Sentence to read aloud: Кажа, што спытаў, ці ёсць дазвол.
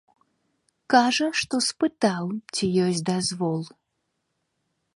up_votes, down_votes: 2, 0